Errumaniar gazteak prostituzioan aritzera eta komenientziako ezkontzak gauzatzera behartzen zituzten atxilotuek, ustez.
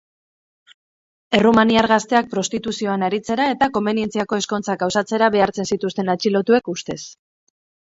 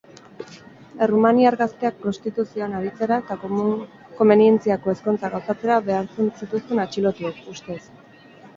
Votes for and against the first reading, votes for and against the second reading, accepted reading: 4, 2, 2, 4, first